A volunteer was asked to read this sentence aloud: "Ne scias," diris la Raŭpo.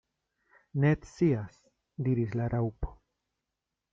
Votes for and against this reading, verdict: 2, 1, accepted